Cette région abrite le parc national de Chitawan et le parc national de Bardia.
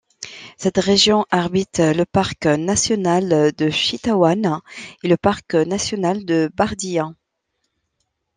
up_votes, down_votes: 1, 2